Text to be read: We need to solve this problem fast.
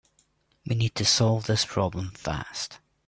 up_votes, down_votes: 2, 0